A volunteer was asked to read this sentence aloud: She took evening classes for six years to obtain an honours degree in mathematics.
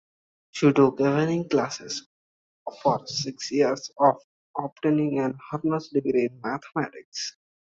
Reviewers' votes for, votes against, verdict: 0, 2, rejected